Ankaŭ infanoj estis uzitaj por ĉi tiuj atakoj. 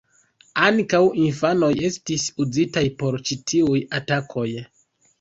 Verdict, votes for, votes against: rejected, 1, 2